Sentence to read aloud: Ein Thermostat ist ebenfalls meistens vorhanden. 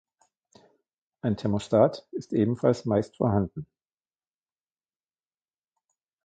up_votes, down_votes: 0, 2